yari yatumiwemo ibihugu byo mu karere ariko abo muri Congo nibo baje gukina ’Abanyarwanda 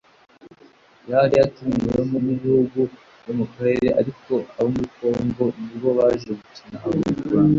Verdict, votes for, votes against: accepted, 2, 0